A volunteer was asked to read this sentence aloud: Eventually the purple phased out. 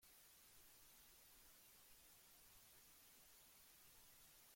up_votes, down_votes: 0, 2